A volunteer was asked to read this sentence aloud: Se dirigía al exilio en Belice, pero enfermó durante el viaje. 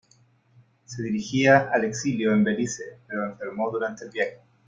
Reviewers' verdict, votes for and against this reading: accepted, 2, 0